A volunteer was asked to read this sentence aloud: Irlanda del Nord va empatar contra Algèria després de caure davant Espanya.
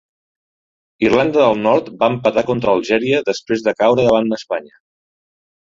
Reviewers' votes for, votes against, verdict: 1, 2, rejected